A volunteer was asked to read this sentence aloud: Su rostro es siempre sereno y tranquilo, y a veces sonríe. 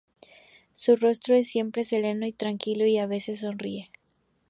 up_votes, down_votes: 2, 0